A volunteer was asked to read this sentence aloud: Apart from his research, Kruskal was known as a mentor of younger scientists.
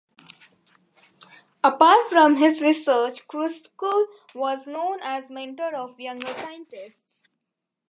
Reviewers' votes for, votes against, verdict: 1, 2, rejected